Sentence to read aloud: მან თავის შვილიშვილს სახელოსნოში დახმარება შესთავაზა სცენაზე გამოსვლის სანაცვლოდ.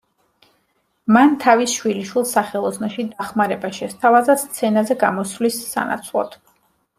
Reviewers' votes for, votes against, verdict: 2, 0, accepted